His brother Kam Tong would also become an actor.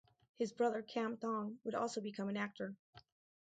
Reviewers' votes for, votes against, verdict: 2, 2, rejected